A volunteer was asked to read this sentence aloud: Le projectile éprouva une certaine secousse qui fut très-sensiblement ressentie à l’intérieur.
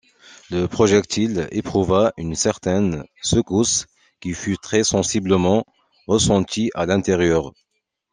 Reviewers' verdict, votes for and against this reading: accepted, 2, 0